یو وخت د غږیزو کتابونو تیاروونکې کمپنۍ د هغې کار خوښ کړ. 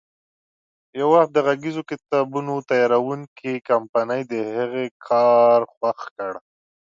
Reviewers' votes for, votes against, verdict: 2, 0, accepted